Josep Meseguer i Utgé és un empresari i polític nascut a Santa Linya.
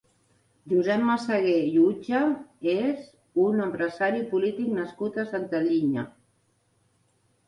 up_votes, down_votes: 0, 2